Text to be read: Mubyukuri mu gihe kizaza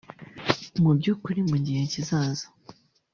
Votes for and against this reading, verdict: 1, 2, rejected